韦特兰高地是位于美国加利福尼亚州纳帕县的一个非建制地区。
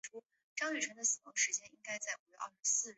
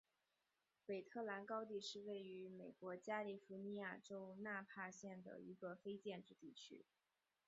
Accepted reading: second